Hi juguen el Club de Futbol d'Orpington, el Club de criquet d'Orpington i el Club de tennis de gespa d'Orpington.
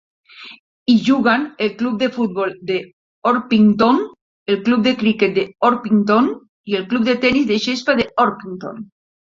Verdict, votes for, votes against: rejected, 0, 2